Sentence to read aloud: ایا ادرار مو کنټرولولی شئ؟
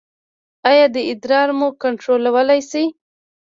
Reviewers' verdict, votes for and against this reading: rejected, 1, 2